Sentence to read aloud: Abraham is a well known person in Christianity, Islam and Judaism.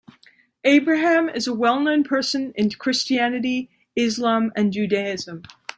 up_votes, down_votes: 2, 0